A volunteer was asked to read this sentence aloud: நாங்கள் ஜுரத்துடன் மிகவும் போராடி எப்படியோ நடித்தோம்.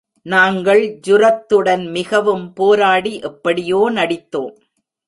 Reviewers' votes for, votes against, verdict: 2, 0, accepted